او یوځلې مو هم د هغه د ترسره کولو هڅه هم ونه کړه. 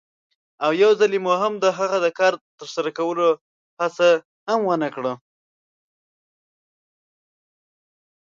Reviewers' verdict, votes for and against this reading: rejected, 0, 2